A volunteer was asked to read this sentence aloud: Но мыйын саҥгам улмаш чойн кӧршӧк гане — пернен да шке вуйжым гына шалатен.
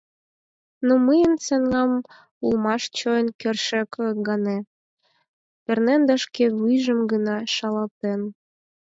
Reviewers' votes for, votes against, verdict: 2, 4, rejected